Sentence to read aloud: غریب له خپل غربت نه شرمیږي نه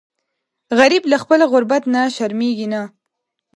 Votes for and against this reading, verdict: 2, 0, accepted